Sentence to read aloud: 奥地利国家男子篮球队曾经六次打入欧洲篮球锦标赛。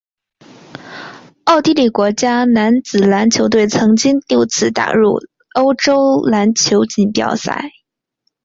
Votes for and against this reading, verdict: 2, 2, rejected